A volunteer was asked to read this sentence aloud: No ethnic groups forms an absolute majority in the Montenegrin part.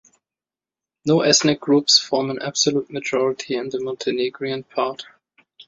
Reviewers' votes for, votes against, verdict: 1, 2, rejected